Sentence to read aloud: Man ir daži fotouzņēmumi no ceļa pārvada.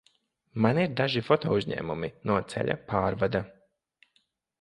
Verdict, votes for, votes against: rejected, 1, 2